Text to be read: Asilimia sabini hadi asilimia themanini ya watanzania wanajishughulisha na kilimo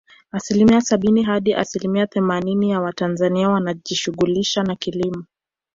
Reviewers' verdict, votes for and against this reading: accepted, 2, 0